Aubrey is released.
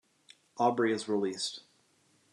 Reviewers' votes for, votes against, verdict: 2, 0, accepted